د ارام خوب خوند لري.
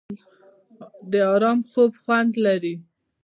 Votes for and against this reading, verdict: 2, 1, accepted